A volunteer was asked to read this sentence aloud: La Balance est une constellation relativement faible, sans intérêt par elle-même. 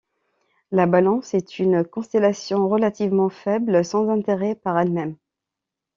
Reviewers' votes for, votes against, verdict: 2, 0, accepted